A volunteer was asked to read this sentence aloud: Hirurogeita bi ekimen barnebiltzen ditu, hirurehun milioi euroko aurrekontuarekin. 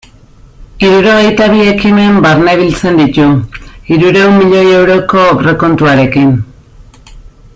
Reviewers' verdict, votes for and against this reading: accepted, 2, 1